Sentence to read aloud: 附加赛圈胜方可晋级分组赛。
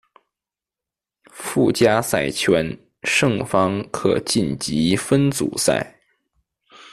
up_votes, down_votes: 2, 0